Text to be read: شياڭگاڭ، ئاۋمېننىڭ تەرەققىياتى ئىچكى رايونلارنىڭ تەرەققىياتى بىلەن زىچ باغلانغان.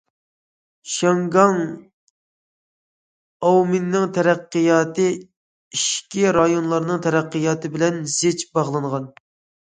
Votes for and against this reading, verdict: 2, 0, accepted